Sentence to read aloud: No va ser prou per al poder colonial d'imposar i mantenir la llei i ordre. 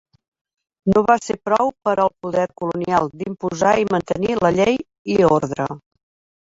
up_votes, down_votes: 3, 4